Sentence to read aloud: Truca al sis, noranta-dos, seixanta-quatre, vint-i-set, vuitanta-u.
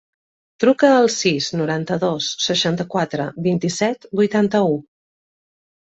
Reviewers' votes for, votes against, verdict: 2, 0, accepted